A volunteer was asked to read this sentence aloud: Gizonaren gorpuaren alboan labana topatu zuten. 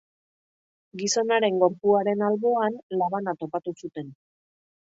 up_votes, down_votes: 2, 0